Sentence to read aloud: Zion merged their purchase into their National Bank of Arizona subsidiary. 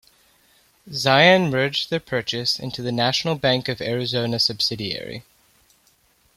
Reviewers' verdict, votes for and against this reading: rejected, 1, 2